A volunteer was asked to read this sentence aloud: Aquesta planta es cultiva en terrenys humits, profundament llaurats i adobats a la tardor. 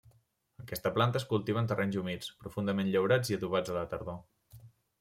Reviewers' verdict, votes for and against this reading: accepted, 2, 0